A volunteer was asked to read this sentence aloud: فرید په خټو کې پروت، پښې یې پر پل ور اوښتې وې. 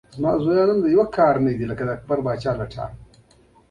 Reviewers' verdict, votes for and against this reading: rejected, 1, 2